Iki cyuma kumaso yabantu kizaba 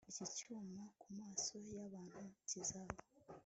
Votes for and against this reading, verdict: 2, 0, accepted